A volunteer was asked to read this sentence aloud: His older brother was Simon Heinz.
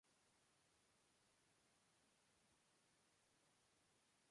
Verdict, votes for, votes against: rejected, 0, 2